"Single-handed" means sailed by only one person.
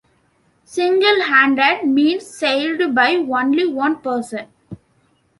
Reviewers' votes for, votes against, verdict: 0, 2, rejected